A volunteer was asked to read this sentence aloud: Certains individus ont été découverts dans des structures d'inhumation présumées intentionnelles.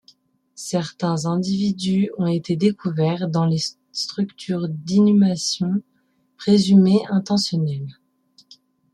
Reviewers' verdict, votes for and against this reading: rejected, 1, 2